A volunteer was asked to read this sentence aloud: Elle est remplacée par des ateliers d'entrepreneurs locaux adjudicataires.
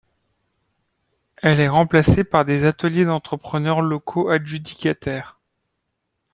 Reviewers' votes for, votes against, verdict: 1, 2, rejected